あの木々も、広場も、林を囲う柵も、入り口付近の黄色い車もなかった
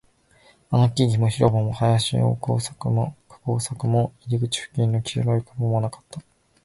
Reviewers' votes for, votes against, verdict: 0, 3, rejected